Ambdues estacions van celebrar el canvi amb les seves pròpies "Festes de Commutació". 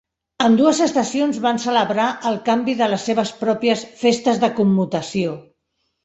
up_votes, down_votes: 0, 2